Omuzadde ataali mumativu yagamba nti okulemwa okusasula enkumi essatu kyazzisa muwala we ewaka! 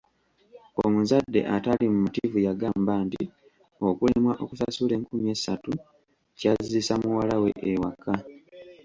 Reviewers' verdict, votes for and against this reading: accepted, 2, 0